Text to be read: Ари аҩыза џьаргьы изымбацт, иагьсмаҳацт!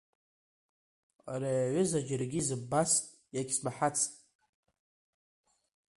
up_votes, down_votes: 2, 1